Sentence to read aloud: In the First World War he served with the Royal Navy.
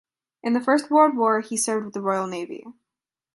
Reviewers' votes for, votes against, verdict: 2, 0, accepted